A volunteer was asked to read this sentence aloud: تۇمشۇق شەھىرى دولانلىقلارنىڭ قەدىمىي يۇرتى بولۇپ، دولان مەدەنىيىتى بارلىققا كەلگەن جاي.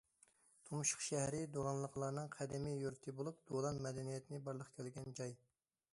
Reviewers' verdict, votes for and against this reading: rejected, 1, 2